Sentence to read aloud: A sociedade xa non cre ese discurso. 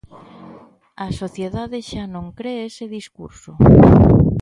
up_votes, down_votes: 2, 0